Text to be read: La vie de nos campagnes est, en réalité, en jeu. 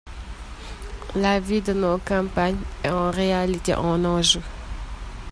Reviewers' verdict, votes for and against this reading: rejected, 1, 2